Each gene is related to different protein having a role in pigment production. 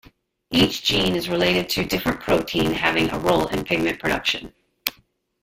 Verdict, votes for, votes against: rejected, 1, 2